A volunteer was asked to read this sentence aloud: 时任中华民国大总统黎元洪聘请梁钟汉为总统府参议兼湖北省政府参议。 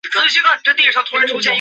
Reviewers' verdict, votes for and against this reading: rejected, 0, 2